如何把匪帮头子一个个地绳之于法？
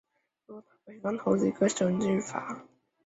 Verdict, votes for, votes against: rejected, 0, 2